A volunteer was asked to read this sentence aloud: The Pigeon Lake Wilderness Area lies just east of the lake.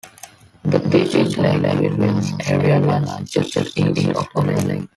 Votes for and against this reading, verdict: 1, 3, rejected